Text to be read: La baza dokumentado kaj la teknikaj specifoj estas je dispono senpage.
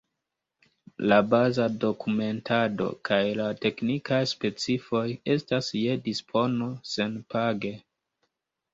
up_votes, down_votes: 1, 2